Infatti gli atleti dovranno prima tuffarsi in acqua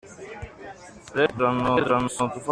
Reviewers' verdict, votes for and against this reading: rejected, 0, 2